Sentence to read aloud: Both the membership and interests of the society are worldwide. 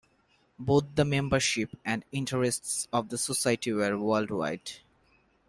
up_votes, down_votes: 0, 2